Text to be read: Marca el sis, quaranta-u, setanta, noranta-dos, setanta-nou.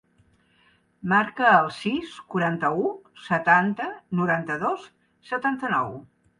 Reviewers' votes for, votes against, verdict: 3, 0, accepted